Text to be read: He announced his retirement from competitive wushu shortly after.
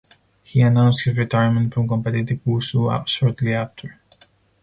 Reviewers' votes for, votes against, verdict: 0, 4, rejected